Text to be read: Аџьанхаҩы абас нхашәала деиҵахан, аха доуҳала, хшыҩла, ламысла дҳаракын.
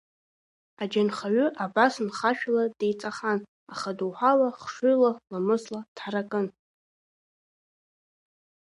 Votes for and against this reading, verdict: 2, 0, accepted